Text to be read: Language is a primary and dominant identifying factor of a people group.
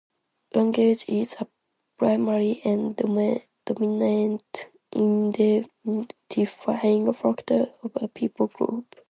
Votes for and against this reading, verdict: 0, 2, rejected